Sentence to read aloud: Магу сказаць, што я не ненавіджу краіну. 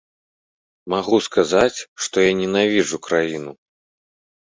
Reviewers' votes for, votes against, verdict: 1, 2, rejected